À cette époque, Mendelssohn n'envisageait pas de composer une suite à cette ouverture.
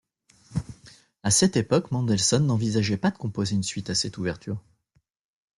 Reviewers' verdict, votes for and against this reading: accepted, 2, 0